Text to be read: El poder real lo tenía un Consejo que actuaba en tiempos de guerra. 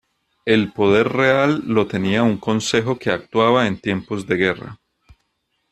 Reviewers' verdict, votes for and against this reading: accepted, 2, 0